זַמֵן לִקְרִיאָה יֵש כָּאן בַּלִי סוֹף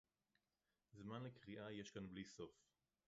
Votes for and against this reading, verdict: 2, 2, rejected